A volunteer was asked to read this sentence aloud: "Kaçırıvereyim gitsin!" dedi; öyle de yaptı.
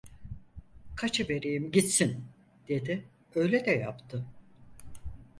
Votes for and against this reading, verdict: 0, 4, rejected